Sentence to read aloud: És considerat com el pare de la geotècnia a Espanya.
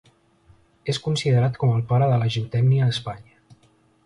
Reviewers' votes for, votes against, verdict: 1, 2, rejected